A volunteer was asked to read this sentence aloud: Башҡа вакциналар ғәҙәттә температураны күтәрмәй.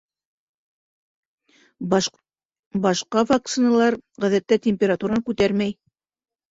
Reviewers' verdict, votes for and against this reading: rejected, 0, 2